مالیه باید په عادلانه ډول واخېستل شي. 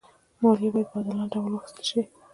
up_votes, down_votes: 0, 2